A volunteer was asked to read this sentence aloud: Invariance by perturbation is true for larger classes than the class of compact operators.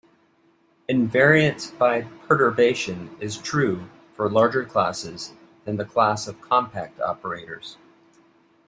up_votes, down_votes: 2, 0